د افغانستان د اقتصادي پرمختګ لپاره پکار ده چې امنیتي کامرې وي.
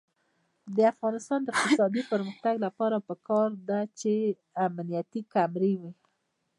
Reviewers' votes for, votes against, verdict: 2, 1, accepted